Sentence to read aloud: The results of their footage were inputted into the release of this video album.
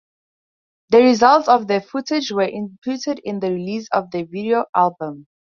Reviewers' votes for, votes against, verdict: 2, 2, rejected